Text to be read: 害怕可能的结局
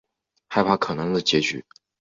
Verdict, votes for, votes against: accepted, 3, 0